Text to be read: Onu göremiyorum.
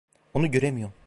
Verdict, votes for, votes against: rejected, 1, 2